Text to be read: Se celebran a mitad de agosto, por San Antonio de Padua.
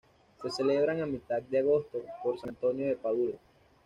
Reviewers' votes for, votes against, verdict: 2, 0, accepted